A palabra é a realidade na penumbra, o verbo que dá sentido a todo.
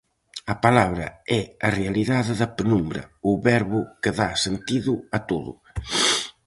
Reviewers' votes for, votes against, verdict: 2, 2, rejected